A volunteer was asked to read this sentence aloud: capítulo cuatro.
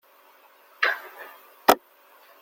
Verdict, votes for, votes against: rejected, 0, 2